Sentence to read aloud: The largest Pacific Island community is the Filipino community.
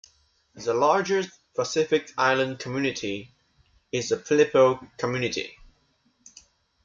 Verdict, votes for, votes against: rejected, 1, 2